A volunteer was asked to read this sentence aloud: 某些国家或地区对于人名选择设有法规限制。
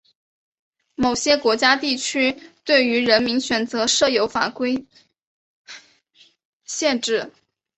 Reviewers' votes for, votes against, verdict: 2, 3, rejected